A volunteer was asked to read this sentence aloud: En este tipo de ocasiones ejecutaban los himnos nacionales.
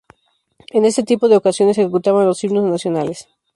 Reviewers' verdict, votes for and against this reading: rejected, 0, 2